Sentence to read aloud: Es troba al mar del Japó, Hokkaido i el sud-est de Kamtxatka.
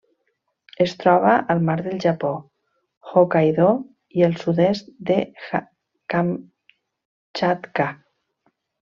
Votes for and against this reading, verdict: 0, 2, rejected